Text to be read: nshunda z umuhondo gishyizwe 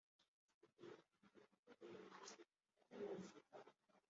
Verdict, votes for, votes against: rejected, 1, 2